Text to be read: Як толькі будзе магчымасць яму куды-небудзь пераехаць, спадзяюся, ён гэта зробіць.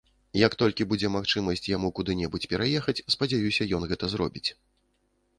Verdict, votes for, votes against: accepted, 2, 0